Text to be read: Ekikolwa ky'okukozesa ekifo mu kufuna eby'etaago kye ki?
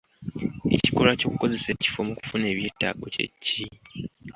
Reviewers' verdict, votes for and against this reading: accepted, 2, 0